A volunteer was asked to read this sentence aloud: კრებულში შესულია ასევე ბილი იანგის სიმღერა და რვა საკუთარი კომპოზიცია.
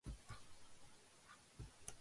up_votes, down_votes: 0, 2